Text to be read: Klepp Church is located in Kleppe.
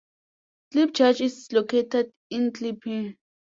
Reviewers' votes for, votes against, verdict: 0, 2, rejected